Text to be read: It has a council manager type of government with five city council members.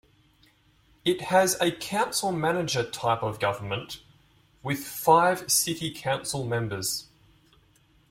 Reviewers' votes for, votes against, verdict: 2, 0, accepted